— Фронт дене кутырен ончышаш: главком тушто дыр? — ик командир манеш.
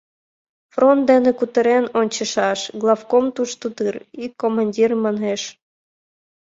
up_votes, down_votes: 2, 0